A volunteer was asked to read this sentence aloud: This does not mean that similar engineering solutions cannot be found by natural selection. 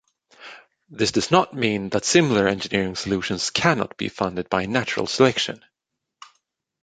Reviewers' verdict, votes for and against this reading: rejected, 0, 2